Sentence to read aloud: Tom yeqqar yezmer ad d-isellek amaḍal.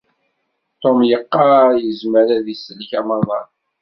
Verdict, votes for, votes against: accepted, 2, 0